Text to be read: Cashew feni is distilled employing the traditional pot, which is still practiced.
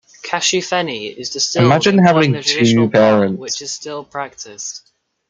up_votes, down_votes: 1, 2